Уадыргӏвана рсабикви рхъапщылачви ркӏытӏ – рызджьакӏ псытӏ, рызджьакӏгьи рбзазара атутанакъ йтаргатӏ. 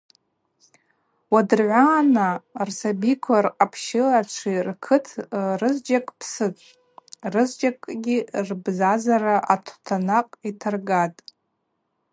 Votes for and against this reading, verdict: 2, 0, accepted